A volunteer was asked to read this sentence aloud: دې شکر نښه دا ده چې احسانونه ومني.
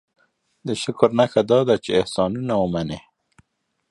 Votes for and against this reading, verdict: 3, 0, accepted